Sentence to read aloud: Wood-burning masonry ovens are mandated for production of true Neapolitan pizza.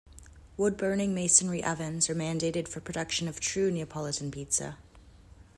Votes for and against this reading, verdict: 2, 1, accepted